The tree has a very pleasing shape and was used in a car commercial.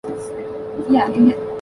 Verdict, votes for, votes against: rejected, 0, 2